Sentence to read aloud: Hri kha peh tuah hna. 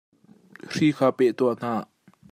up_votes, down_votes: 2, 0